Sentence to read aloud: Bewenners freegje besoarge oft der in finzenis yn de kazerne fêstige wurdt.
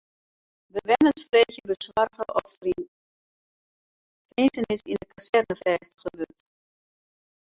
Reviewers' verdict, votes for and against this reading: rejected, 0, 4